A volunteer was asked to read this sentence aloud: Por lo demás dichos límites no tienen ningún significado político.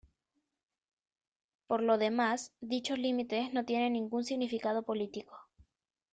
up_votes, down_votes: 1, 2